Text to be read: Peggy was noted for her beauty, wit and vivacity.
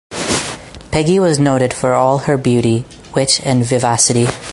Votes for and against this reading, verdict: 2, 2, rejected